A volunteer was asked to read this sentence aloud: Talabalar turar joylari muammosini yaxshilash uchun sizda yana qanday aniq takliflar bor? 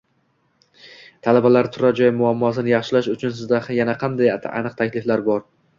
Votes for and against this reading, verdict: 1, 2, rejected